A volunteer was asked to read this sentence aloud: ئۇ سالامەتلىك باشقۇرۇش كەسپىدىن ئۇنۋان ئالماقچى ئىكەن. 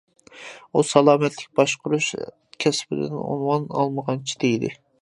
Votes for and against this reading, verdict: 0, 2, rejected